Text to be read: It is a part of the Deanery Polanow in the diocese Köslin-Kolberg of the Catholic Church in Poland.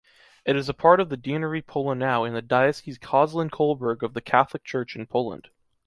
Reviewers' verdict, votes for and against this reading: accepted, 2, 0